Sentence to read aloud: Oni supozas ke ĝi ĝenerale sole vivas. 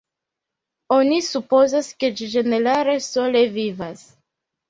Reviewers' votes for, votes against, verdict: 2, 0, accepted